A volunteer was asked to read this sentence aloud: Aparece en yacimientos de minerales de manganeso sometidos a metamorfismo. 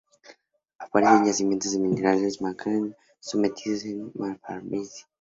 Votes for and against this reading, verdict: 2, 0, accepted